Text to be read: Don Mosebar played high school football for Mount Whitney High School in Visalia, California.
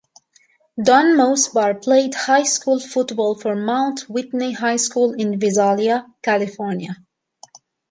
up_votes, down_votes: 2, 0